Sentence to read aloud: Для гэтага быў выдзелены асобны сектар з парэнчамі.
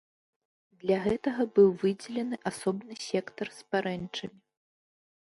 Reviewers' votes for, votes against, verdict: 0, 2, rejected